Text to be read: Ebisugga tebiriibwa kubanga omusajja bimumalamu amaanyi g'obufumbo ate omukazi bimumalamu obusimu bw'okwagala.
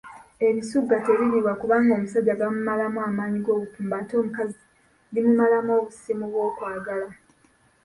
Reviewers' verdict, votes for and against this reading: rejected, 1, 2